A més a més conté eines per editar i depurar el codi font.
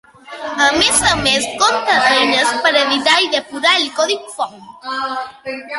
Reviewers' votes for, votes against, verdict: 2, 1, accepted